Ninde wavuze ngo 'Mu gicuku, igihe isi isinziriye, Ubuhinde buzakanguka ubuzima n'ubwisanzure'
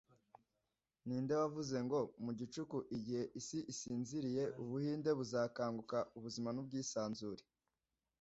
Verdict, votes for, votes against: accepted, 2, 0